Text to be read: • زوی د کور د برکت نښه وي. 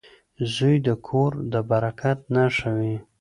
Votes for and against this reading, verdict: 2, 0, accepted